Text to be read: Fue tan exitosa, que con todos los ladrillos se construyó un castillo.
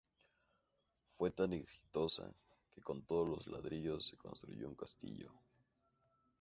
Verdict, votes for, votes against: accepted, 2, 0